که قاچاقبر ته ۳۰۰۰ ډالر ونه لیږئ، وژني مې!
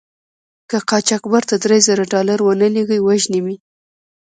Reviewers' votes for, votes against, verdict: 0, 2, rejected